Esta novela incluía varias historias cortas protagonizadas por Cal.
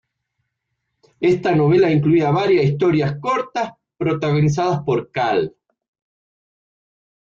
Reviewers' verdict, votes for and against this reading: rejected, 1, 2